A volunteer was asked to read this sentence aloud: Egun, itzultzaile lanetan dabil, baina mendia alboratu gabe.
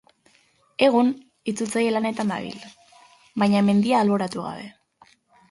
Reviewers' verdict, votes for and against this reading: accepted, 2, 0